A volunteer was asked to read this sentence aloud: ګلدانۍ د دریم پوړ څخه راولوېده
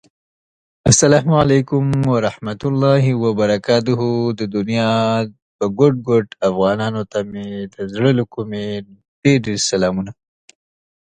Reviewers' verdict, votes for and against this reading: rejected, 0, 2